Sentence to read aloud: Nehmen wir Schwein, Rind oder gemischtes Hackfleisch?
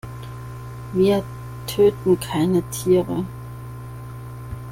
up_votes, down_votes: 0, 2